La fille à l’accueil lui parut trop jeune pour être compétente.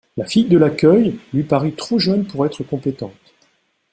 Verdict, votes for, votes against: rejected, 0, 2